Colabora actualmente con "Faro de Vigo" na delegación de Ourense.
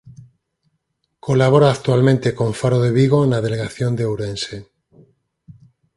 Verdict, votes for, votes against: rejected, 2, 4